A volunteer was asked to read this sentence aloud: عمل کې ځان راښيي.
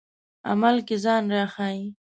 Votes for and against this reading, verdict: 2, 0, accepted